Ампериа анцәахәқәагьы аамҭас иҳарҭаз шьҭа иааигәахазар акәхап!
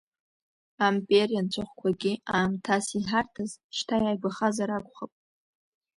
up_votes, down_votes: 1, 2